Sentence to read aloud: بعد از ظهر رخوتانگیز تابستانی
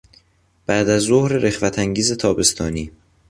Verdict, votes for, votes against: accepted, 3, 0